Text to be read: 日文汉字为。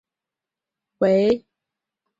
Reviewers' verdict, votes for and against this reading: rejected, 1, 2